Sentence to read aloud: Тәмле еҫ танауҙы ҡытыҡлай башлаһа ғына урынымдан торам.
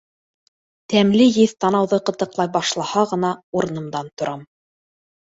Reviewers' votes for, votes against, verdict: 2, 0, accepted